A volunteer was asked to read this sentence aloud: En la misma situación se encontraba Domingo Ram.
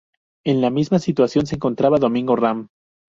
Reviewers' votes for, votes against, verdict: 2, 0, accepted